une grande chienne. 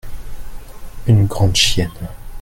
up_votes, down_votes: 2, 0